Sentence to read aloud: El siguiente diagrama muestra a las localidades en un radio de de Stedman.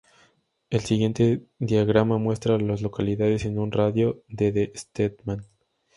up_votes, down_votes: 0, 2